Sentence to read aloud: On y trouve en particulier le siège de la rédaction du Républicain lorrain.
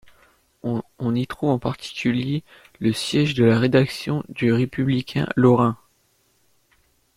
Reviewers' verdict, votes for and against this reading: accepted, 2, 1